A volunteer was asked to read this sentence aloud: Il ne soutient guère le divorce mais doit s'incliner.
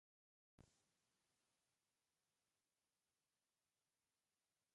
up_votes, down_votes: 0, 2